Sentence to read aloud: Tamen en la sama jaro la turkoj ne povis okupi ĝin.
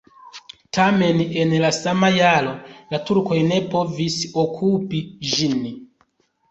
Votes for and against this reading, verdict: 2, 0, accepted